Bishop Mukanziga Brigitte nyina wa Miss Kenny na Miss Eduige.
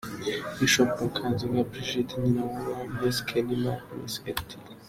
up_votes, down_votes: 2, 1